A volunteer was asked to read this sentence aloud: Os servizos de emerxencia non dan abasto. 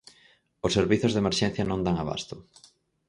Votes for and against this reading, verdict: 4, 0, accepted